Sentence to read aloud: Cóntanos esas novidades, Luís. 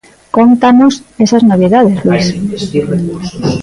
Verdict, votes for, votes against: accepted, 2, 0